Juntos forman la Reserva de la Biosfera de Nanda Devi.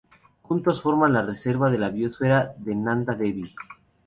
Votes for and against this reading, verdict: 0, 2, rejected